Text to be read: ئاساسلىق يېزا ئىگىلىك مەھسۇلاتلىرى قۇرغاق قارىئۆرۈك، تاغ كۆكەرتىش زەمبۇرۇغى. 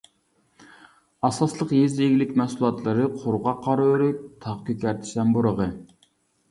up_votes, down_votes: 0, 2